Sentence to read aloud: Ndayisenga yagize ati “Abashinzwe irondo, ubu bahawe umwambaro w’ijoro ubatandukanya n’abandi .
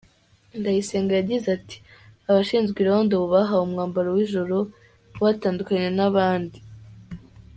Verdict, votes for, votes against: accepted, 2, 0